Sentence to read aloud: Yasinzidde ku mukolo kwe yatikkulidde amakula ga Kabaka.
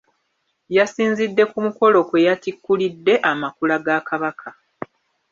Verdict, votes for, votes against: rejected, 1, 2